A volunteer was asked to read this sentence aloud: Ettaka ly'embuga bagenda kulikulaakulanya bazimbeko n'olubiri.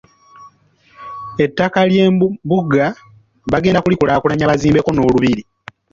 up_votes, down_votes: 0, 2